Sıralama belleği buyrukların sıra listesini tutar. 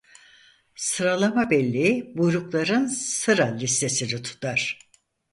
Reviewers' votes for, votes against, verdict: 4, 0, accepted